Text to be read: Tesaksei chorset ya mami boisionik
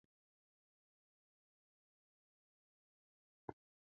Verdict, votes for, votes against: rejected, 1, 2